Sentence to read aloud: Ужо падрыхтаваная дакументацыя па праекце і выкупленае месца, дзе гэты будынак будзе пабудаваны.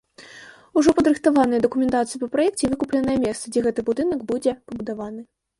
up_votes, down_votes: 2, 1